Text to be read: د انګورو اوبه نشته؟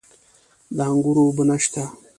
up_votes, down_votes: 2, 0